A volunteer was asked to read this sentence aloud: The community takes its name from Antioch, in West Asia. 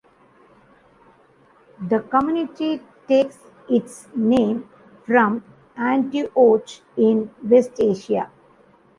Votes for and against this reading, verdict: 1, 2, rejected